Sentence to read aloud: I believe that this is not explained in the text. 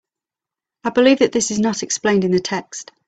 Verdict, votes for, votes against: accepted, 3, 0